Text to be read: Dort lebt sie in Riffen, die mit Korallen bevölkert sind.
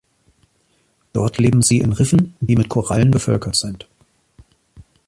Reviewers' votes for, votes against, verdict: 1, 2, rejected